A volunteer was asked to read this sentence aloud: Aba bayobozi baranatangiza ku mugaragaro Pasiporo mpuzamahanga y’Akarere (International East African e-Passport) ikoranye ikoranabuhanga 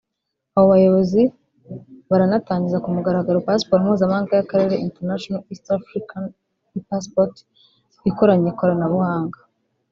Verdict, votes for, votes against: rejected, 0, 2